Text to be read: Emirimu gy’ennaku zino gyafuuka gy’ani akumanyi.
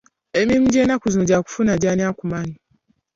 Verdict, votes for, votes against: rejected, 1, 2